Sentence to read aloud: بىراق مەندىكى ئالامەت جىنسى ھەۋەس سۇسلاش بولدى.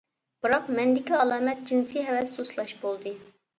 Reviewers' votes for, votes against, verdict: 3, 1, accepted